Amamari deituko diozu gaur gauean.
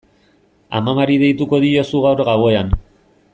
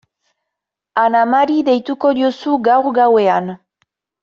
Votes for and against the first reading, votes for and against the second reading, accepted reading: 2, 0, 1, 2, first